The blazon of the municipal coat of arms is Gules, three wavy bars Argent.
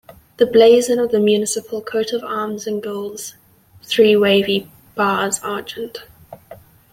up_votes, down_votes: 1, 2